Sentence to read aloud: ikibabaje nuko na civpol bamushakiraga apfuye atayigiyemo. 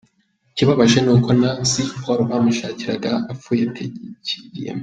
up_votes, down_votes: 0, 2